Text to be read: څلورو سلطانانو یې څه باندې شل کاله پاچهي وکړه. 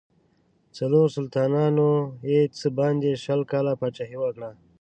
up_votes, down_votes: 2, 0